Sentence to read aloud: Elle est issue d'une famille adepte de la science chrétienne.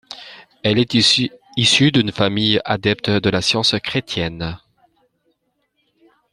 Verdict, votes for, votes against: rejected, 1, 2